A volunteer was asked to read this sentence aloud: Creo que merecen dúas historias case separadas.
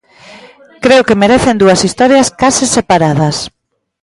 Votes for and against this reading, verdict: 2, 0, accepted